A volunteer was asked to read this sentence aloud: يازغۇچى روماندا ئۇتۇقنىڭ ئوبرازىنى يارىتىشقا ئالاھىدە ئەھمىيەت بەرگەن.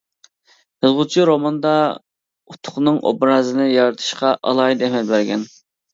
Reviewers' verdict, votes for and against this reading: rejected, 0, 2